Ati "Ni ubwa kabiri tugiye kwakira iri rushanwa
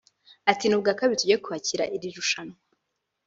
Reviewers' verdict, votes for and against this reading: rejected, 0, 2